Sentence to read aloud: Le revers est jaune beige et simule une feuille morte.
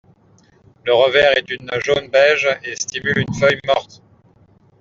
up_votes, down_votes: 1, 2